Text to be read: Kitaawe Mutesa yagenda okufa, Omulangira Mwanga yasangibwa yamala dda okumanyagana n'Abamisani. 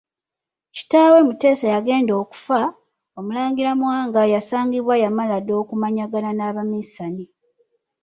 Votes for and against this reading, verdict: 2, 0, accepted